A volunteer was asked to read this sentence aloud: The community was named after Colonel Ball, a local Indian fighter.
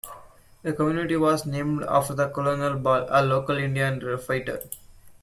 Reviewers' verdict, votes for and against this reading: rejected, 1, 2